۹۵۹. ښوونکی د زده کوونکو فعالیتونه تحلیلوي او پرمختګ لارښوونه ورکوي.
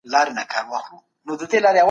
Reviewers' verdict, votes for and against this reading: rejected, 0, 2